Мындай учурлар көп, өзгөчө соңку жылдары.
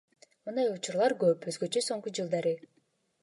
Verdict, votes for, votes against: accepted, 2, 0